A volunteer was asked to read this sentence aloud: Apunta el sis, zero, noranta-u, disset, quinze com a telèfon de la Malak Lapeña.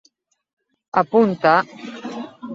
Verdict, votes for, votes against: rejected, 0, 3